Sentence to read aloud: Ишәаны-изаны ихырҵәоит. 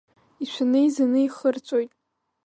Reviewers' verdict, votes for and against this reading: rejected, 0, 2